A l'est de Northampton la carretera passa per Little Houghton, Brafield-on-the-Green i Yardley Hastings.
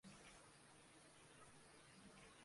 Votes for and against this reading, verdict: 0, 2, rejected